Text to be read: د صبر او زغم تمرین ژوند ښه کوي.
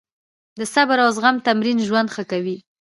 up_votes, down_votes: 2, 0